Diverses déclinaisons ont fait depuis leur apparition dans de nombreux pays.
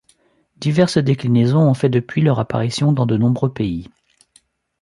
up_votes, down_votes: 2, 0